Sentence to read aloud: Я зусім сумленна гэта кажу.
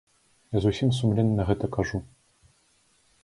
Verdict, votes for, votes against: accepted, 2, 0